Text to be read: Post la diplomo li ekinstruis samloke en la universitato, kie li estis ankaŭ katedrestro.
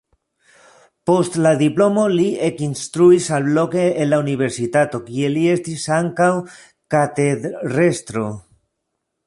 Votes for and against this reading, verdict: 0, 2, rejected